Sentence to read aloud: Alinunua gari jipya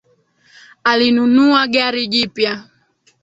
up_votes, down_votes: 2, 1